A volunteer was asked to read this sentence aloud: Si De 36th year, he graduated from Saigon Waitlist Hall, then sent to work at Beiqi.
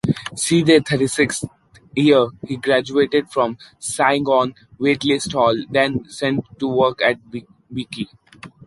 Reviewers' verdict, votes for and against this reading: rejected, 0, 2